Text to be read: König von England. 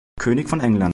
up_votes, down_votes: 0, 2